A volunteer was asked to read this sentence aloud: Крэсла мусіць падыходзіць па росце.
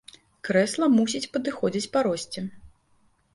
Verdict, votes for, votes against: accepted, 2, 0